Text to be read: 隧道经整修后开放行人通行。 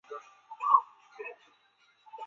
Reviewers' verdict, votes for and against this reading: rejected, 0, 2